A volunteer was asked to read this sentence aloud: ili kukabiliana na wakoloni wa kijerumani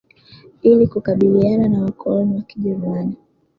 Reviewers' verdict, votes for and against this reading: accepted, 2, 0